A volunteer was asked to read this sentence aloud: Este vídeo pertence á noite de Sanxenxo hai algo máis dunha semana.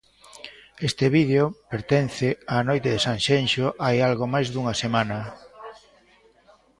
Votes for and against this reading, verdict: 1, 2, rejected